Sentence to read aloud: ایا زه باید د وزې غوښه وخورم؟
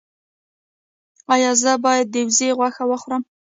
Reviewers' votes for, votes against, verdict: 1, 2, rejected